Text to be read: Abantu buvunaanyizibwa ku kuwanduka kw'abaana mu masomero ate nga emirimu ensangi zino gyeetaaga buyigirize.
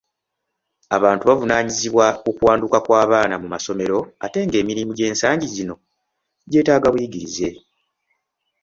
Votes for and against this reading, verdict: 2, 0, accepted